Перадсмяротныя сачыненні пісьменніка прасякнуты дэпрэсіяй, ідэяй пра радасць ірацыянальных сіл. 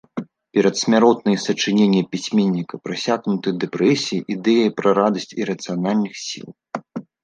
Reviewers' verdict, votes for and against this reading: accepted, 2, 0